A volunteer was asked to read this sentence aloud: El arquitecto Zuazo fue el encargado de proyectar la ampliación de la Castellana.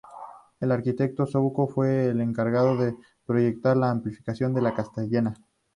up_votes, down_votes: 0, 2